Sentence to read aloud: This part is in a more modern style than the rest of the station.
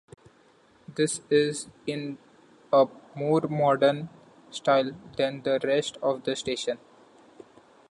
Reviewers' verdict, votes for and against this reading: rejected, 1, 2